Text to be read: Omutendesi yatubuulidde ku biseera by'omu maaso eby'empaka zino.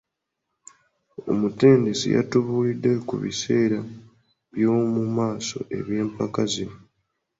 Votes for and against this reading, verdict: 2, 0, accepted